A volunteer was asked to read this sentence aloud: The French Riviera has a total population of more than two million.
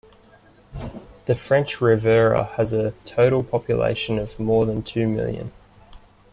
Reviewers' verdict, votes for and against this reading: rejected, 0, 2